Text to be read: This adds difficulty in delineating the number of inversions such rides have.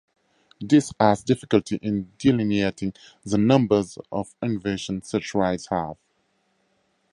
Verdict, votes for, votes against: rejected, 2, 4